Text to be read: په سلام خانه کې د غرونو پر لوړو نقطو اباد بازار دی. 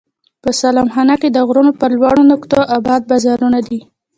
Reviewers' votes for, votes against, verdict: 2, 1, accepted